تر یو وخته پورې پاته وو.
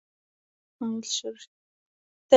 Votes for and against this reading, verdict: 1, 2, rejected